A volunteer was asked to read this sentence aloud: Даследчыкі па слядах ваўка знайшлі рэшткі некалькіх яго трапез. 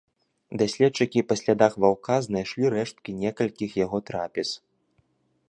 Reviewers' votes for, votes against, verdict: 2, 1, accepted